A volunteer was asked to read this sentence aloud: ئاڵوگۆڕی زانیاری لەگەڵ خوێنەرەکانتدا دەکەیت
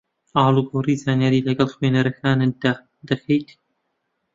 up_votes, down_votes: 2, 0